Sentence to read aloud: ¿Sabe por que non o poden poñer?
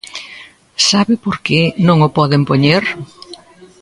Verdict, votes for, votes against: rejected, 1, 2